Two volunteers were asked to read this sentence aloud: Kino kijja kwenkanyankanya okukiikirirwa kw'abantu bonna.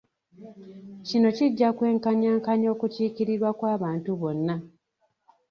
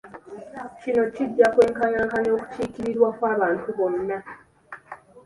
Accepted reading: second